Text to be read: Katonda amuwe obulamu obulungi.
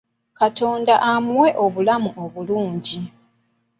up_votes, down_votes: 2, 0